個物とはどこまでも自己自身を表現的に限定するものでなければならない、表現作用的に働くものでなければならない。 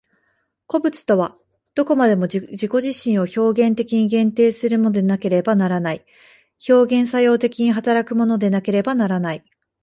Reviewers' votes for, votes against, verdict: 0, 2, rejected